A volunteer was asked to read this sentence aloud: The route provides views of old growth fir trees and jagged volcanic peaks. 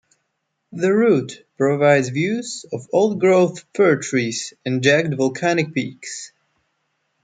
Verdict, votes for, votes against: rejected, 0, 2